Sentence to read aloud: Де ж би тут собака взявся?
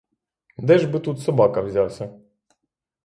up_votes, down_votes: 3, 0